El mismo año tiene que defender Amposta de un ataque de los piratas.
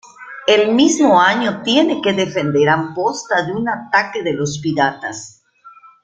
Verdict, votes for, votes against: accepted, 2, 0